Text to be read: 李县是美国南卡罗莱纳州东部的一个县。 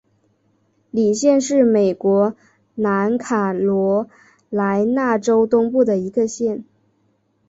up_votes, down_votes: 3, 0